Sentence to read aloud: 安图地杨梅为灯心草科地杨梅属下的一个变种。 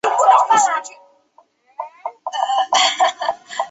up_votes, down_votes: 0, 2